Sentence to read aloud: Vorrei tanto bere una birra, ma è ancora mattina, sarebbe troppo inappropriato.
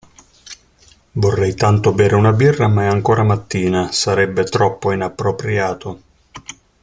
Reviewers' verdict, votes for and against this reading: accepted, 2, 0